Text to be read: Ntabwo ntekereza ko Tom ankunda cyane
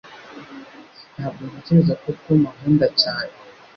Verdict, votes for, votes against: rejected, 1, 2